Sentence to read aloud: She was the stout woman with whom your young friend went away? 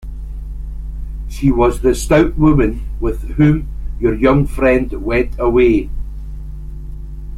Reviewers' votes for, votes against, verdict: 2, 0, accepted